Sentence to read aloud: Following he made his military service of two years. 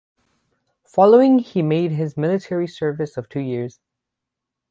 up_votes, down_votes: 6, 0